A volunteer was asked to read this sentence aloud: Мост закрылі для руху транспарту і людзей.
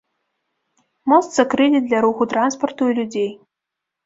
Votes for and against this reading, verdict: 2, 0, accepted